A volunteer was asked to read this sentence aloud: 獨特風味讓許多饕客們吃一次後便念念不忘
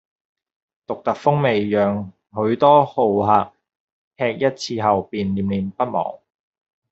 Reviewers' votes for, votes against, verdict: 2, 0, accepted